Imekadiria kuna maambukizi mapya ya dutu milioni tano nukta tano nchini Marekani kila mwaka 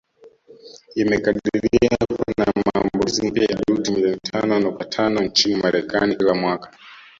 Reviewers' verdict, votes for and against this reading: rejected, 0, 2